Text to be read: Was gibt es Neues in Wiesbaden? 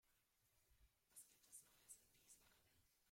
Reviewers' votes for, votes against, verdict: 1, 2, rejected